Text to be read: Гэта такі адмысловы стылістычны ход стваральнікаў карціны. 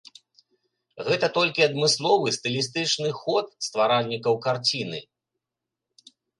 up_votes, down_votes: 0, 2